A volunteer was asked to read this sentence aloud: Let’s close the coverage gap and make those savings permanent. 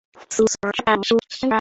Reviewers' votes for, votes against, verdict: 1, 2, rejected